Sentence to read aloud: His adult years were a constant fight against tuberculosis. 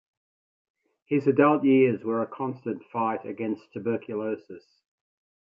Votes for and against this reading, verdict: 2, 0, accepted